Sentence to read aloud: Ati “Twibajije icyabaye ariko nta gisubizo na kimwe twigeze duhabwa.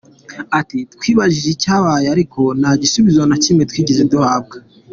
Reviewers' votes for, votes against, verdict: 2, 1, accepted